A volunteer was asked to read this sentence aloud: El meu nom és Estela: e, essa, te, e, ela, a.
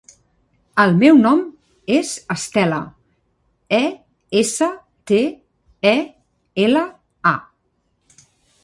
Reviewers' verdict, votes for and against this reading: accepted, 3, 0